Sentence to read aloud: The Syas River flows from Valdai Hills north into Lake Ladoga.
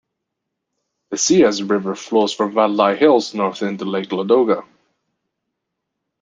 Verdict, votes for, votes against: rejected, 0, 2